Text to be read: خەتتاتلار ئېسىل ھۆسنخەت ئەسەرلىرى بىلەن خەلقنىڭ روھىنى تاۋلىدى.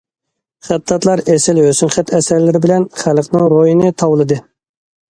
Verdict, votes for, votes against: accepted, 2, 0